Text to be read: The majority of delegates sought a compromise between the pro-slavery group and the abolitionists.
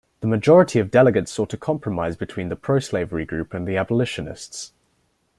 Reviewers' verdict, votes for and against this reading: accepted, 2, 0